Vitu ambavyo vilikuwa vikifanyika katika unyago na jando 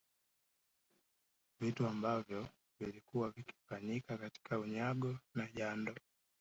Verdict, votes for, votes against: accepted, 2, 0